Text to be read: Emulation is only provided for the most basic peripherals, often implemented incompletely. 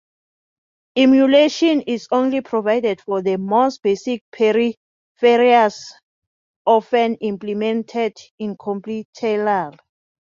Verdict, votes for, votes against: rejected, 0, 4